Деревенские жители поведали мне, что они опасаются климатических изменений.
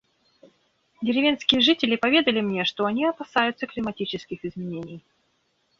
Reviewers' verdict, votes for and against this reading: accepted, 2, 0